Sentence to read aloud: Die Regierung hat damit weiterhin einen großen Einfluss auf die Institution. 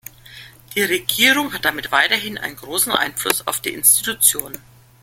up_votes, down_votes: 3, 0